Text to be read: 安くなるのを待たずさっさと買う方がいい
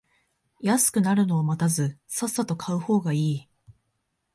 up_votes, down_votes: 4, 0